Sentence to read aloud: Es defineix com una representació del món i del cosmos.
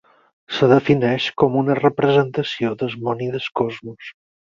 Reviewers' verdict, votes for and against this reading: accepted, 4, 2